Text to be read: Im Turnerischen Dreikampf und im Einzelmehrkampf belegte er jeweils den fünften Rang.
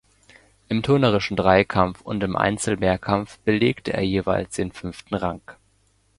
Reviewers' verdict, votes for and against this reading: accepted, 2, 1